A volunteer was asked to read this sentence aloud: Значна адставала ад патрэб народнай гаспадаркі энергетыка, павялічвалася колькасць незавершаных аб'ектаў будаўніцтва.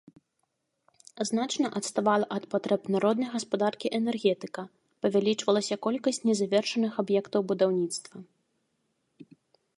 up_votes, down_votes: 3, 0